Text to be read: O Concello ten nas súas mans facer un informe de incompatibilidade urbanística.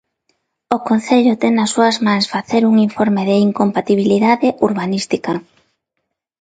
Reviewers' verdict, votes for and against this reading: accepted, 2, 0